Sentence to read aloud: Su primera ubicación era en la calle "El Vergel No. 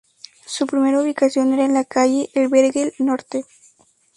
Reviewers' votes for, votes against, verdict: 0, 4, rejected